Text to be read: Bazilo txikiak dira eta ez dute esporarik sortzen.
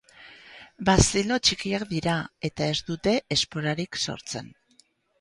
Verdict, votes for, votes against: accepted, 4, 0